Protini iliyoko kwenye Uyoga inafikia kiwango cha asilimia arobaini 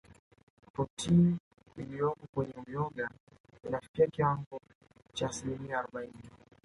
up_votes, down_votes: 2, 0